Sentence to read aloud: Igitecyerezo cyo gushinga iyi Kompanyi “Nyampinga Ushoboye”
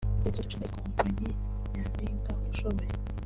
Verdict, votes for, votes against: rejected, 0, 2